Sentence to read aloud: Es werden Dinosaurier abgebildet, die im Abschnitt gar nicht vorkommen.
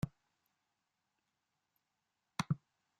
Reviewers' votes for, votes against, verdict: 0, 2, rejected